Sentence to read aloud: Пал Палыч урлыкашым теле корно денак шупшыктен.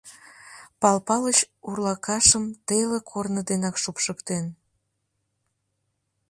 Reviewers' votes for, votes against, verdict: 1, 2, rejected